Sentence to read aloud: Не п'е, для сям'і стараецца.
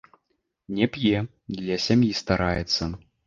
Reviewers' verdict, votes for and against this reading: rejected, 1, 2